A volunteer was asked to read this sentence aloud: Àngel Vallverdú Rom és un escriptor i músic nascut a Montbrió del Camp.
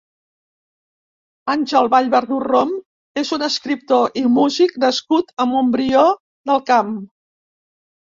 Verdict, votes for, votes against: accepted, 3, 0